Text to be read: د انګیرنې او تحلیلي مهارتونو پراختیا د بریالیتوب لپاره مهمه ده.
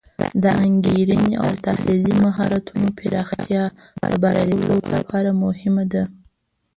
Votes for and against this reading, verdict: 1, 2, rejected